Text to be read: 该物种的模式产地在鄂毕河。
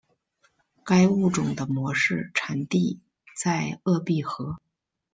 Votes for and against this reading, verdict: 2, 1, accepted